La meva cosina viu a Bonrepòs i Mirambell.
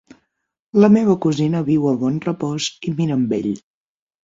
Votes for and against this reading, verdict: 9, 3, accepted